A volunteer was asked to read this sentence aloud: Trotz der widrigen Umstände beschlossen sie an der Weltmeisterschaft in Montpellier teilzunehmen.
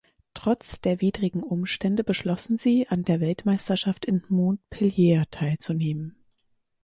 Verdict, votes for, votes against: rejected, 2, 4